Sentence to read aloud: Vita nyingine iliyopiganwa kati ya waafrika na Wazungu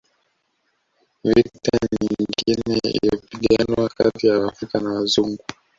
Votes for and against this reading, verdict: 1, 2, rejected